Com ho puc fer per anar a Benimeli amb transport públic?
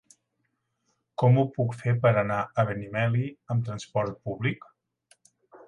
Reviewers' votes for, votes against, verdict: 2, 0, accepted